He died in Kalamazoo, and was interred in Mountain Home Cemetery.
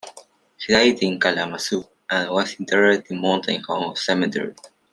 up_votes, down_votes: 1, 2